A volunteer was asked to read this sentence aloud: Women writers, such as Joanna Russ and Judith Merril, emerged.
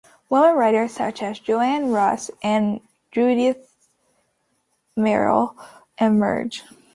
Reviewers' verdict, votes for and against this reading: accepted, 2, 0